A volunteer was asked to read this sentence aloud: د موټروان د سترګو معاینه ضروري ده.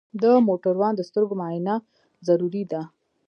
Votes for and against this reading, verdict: 2, 0, accepted